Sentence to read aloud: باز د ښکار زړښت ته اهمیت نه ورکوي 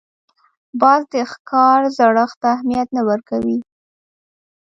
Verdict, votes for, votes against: accepted, 2, 0